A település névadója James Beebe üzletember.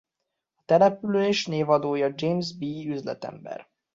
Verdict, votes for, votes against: rejected, 1, 2